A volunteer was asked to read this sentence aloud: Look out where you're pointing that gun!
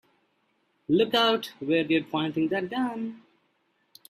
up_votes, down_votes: 2, 1